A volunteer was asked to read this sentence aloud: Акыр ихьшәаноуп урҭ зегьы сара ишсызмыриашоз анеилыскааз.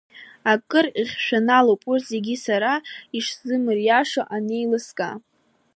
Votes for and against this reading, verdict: 1, 2, rejected